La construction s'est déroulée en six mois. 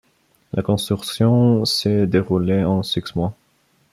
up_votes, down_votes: 1, 2